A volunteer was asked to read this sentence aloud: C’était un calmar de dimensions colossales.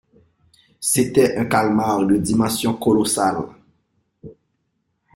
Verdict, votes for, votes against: accepted, 2, 0